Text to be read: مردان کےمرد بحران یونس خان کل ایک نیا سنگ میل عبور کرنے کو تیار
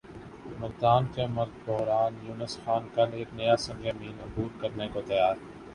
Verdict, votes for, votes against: accepted, 2, 0